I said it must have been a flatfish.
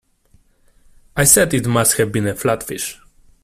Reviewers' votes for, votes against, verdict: 2, 0, accepted